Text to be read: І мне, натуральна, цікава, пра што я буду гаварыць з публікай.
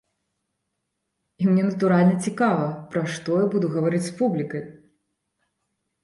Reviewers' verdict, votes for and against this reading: accepted, 2, 0